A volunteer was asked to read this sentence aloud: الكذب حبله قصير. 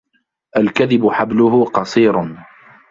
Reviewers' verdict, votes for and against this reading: rejected, 0, 2